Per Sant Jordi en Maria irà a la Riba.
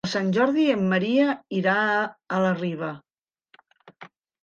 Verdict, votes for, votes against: rejected, 1, 2